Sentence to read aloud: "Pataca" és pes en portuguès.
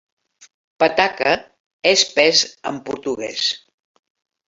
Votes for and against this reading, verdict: 3, 0, accepted